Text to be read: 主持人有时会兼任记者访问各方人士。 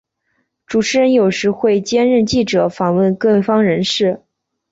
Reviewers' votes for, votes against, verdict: 3, 1, accepted